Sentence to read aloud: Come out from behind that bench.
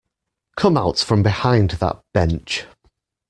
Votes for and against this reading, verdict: 2, 0, accepted